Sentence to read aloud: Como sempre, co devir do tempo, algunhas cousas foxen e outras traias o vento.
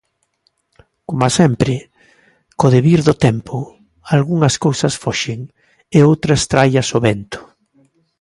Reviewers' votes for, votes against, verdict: 2, 1, accepted